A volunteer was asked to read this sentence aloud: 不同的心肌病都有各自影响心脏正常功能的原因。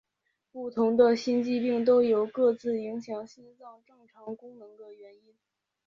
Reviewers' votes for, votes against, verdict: 7, 3, accepted